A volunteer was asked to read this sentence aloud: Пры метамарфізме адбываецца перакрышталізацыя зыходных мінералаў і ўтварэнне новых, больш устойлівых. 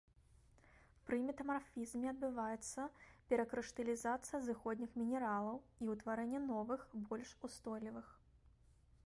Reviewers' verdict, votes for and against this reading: accepted, 2, 0